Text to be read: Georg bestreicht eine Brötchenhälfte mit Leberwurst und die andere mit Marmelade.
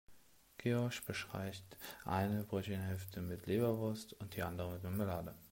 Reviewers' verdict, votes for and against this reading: rejected, 0, 2